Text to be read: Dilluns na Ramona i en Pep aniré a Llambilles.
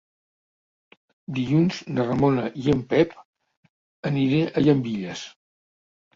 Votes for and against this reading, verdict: 2, 0, accepted